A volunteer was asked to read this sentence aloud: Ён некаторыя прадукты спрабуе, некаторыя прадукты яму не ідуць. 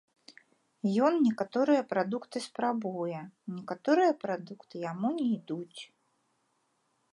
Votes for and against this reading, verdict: 2, 1, accepted